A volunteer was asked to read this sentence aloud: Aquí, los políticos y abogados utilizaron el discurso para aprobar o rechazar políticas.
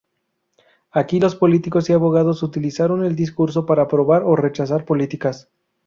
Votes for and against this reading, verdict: 0, 2, rejected